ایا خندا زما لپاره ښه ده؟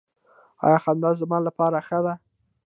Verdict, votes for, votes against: rejected, 0, 2